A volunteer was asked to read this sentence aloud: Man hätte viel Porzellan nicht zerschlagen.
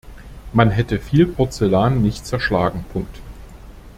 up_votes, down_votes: 2, 1